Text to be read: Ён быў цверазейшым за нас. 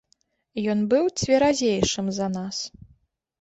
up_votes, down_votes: 2, 0